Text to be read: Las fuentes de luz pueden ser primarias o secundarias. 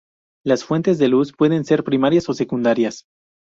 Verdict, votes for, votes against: accepted, 2, 0